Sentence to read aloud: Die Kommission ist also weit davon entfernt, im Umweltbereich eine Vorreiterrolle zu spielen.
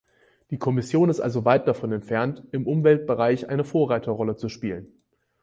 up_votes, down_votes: 4, 0